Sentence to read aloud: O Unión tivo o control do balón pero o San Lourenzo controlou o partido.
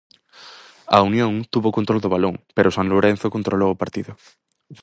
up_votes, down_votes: 0, 4